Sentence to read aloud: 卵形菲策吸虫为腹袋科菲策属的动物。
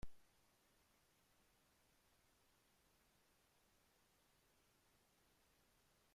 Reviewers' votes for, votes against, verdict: 0, 2, rejected